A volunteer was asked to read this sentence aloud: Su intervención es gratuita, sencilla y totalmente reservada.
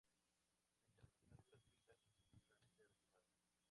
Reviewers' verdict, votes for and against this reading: rejected, 0, 2